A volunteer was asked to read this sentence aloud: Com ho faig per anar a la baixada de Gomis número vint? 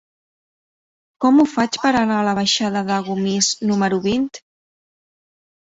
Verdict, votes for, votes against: rejected, 2, 3